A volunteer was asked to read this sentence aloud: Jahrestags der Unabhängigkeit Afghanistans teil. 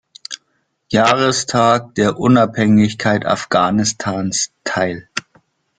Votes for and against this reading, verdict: 0, 2, rejected